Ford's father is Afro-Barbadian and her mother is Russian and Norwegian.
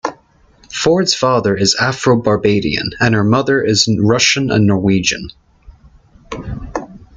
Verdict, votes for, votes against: accepted, 2, 0